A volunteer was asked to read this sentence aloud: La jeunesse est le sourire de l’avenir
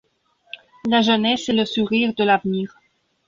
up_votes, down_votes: 1, 2